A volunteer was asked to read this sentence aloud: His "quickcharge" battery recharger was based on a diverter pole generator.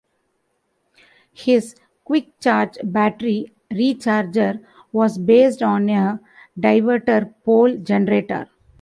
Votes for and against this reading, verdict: 2, 0, accepted